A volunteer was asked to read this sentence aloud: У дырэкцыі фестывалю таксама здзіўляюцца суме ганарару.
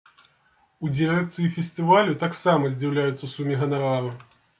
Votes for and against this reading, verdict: 0, 2, rejected